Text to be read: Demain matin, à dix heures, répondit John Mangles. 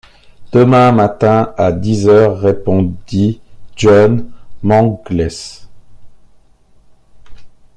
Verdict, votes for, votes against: accepted, 2, 0